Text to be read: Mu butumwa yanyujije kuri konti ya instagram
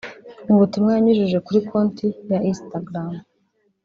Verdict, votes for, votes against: rejected, 1, 2